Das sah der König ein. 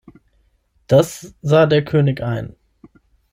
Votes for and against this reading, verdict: 6, 0, accepted